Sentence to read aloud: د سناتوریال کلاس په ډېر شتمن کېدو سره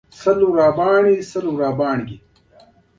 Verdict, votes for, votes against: rejected, 1, 2